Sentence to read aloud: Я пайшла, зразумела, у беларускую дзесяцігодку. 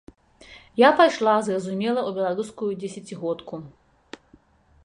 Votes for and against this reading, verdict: 3, 0, accepted